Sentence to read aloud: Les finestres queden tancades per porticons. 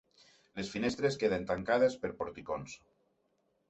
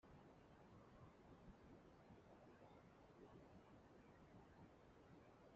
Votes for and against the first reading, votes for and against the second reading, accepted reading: 3, 0, 0, 2, first